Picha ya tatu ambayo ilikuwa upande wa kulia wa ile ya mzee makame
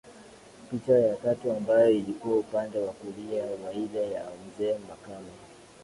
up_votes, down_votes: 2, 0